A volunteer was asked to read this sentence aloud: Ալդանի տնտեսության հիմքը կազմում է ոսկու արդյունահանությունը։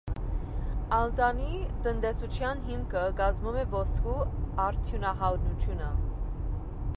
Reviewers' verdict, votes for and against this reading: rejected, 0, 2